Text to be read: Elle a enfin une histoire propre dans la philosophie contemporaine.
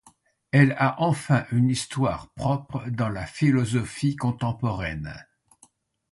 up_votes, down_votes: 2, 0